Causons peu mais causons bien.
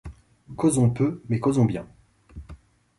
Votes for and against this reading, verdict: 2, 0, accepted